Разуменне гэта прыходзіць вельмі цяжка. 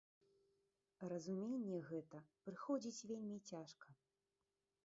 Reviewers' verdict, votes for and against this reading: rejected, 1, 2